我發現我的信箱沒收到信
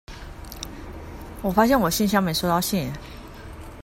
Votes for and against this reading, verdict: 1, 2, rejected